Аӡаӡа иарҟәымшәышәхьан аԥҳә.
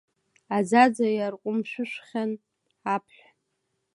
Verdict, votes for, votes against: accepted, 2, 0